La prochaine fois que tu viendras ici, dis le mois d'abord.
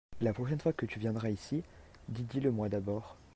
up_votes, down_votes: 1, 2